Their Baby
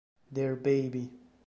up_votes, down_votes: 2, 0